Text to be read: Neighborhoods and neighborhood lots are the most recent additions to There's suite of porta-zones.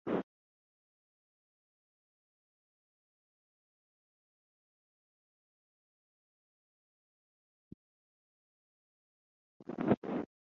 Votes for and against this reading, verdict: 0, 4, rejected